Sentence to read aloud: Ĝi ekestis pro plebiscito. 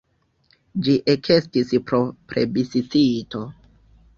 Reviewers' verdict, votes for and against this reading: rejected, 0, 2